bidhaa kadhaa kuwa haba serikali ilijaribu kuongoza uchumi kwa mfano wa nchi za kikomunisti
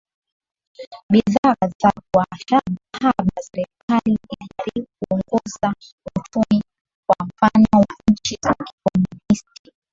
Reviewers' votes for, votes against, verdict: 0, 2, rejected